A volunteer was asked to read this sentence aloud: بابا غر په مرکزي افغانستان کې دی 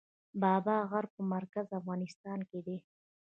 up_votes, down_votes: 2, 0